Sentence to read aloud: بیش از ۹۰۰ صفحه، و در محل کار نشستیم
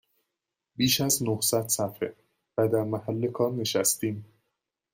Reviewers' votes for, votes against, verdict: 0, 2, rejected